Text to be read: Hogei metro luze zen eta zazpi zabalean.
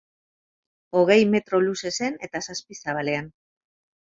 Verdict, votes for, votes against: rejected, 2, 2